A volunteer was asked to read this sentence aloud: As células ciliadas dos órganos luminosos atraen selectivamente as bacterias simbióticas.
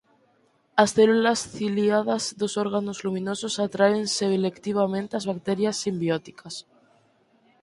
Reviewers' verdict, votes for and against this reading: accepted, 4, 2